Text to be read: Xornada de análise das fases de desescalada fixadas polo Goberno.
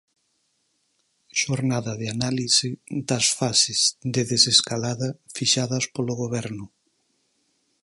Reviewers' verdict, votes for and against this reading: accepted, 4, 0